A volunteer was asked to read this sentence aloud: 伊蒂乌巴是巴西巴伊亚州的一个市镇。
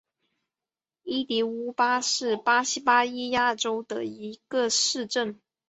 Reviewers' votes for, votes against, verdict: 3, 0, accepted